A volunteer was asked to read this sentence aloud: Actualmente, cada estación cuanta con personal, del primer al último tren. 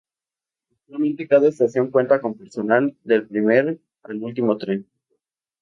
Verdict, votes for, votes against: rejected, 0, 2